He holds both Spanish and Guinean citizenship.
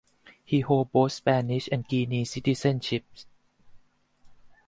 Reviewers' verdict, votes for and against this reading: rejected, 2, 4